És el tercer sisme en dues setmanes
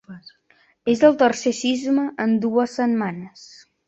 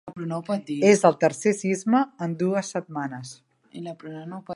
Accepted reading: first